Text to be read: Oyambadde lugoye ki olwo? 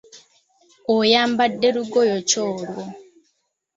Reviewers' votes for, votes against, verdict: 2, 0, accepted